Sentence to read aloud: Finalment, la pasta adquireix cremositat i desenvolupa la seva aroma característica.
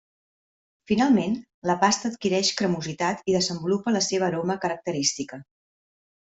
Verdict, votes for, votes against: accepted, 3, 0